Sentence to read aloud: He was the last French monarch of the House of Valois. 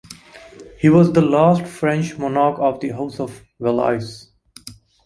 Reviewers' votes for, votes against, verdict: 2, 3, rejected